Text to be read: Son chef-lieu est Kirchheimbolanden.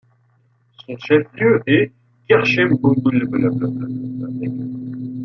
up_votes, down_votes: 0, 2